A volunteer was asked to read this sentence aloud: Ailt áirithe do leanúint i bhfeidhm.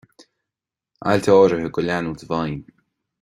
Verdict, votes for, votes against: accepted, 2, 0